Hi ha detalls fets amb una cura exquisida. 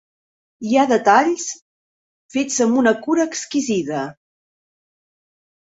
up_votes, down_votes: 3, 0